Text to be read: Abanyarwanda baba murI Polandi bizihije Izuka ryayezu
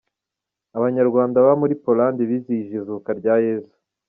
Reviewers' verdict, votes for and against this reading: rejected, 1, 2